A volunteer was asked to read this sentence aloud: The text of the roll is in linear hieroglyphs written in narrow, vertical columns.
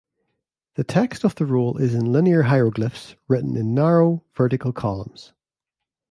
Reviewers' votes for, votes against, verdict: 2, 0, accepted